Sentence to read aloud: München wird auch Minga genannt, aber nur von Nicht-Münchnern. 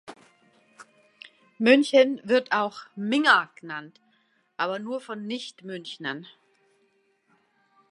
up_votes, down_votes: 2, 0